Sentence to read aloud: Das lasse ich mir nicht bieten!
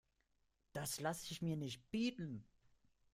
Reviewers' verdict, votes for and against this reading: accepted, 2, 0